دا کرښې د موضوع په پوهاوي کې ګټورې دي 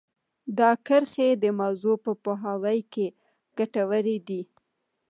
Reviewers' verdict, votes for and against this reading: accepted, 2, 0